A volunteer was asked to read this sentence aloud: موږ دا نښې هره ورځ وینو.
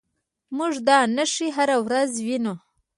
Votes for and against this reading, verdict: 1, 2, rejected